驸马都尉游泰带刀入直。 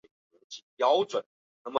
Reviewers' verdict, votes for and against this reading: rejected, 1, 2